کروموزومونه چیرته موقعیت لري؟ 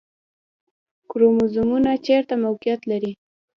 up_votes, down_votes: 3, 0